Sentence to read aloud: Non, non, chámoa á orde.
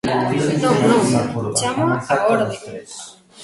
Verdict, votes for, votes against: rejected, 0, 2